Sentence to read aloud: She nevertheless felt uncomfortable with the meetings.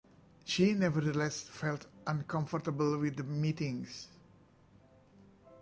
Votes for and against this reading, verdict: 2, 0, accepted